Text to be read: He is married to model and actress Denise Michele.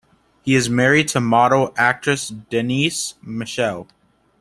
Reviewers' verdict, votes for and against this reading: accepted, 2, 1